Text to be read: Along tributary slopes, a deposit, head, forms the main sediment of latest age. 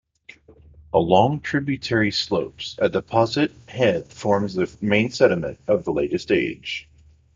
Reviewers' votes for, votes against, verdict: 2, 0, accepted